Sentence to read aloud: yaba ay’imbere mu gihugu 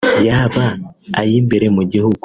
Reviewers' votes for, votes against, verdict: 2, 0, accepted